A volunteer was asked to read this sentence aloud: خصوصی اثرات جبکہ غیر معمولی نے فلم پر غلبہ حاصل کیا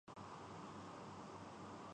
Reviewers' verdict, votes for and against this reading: rejected, 0, 4